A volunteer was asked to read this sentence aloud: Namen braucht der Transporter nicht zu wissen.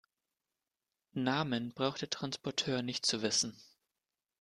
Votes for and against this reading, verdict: 0, 2, rejected